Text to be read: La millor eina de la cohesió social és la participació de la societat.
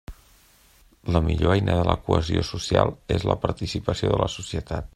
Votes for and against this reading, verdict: 3, 0, accepted